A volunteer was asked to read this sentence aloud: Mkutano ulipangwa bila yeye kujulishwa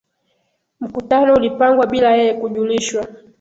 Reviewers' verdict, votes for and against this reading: accepted, 3, 0